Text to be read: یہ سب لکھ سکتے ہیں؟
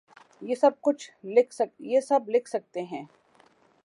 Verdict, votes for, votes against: rejected, 0, 2